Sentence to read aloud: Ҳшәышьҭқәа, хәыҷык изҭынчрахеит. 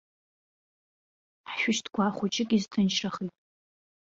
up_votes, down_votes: 0, 2